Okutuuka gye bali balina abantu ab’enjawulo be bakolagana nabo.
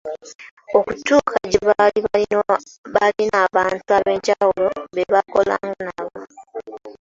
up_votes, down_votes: 0, 2